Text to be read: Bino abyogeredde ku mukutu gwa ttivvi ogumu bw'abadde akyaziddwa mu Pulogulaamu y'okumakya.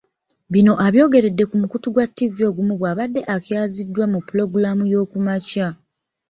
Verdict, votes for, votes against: accepted, 2, 1